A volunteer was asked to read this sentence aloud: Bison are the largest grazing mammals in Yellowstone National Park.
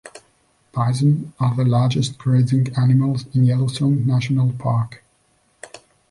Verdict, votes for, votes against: rejected, 0, 2